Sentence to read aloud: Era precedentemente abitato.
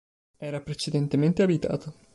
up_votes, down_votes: 2, 0